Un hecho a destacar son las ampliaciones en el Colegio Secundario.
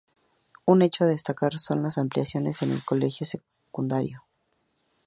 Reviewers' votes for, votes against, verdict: 2, 0, accepted